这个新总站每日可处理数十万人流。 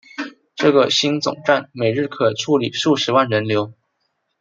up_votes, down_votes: 2, 0